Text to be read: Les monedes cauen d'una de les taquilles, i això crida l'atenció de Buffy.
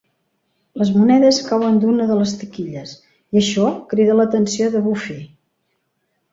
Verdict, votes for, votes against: accepted, 3, 0